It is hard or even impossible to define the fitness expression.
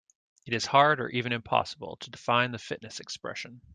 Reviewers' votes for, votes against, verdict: 2, 0, accepted